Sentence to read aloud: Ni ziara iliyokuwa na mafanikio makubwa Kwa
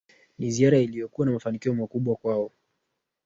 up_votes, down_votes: 0, 2